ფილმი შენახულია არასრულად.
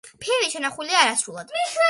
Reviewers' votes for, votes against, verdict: 1, 2, rejected